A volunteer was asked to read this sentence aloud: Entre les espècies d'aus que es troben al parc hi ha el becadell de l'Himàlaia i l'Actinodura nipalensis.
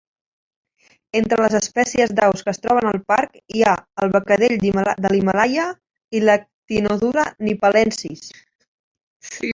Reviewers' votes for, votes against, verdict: 0, 2, rejected